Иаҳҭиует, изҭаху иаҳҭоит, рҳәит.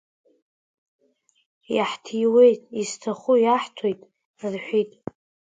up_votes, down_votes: 2, 1